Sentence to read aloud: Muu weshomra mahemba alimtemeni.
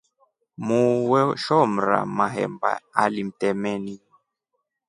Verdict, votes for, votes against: accepted, 2, 0